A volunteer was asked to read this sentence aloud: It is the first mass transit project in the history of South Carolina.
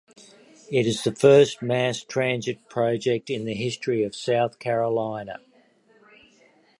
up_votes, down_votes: 2, 1